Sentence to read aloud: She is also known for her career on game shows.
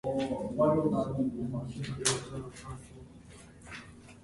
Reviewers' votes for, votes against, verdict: 0, 2, rejected